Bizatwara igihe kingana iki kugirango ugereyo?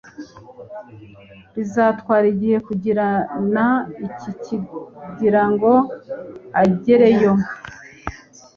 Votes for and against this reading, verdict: 1, 2, rejected